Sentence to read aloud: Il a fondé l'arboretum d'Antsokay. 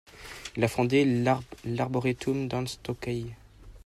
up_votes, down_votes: 1, 2